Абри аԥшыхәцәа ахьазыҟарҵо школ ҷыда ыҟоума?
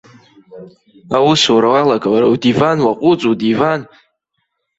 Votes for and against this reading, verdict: 0, 2, rejected